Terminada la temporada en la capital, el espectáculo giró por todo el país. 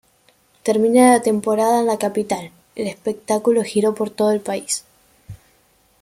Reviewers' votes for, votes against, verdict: 2, 0, accepted